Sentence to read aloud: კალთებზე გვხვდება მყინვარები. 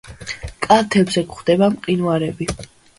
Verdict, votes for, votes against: accepted, 2, 0